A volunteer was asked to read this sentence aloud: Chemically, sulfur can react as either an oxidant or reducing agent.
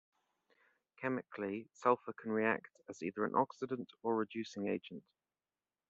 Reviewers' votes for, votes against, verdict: 1, 2, rejected